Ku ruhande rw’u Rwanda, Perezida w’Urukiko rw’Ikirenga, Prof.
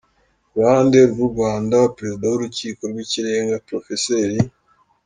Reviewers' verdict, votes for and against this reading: accepted, 2, 0